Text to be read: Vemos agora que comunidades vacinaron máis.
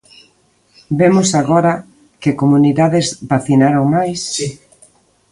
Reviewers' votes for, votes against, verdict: 1, 2, rejected